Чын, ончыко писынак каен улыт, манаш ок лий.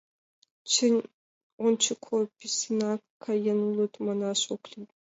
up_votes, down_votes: 1, 2